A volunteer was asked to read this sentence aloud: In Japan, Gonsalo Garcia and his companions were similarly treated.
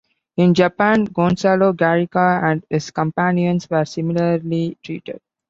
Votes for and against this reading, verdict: 0, 2, rejected